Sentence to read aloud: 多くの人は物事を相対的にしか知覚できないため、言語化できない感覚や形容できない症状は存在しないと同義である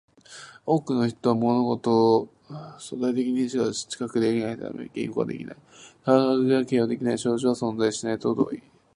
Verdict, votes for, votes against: accepted, 2, 0